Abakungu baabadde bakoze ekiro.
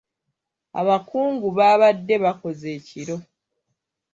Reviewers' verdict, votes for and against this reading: accepted, 2, 0